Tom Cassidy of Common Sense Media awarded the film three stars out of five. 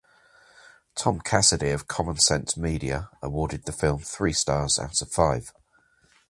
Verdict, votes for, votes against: accepted, 2, 0